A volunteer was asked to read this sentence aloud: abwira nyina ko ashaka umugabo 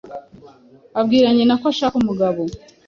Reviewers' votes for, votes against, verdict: 2, 0, accepted